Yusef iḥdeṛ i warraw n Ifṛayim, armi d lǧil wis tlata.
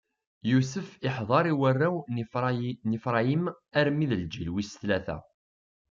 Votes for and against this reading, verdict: 0, 2, rejected